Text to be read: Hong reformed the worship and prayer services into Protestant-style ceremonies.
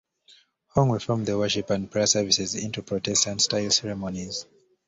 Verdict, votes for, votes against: accepted, 2, 0